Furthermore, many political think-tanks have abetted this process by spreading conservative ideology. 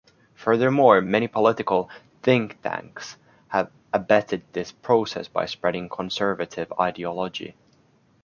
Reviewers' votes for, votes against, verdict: 2, 0, accepted